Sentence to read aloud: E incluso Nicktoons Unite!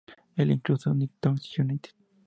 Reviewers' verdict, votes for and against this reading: accepted, 2, 0